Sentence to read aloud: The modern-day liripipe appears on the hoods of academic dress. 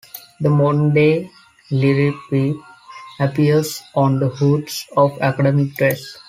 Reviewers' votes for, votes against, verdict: 1, 2, rejected